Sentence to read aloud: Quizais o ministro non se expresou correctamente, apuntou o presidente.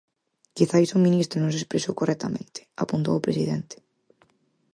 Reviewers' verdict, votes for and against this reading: accepted, 4, 2